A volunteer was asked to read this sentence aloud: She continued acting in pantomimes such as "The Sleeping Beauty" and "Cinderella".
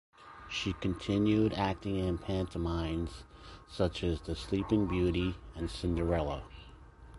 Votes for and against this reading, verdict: 2, 0, accepted